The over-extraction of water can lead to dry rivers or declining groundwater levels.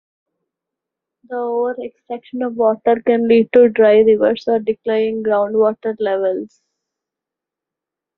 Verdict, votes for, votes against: accepted, 2, 1